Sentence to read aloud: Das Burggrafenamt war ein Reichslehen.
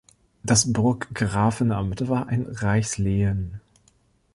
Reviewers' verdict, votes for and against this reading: accepted, 2, 0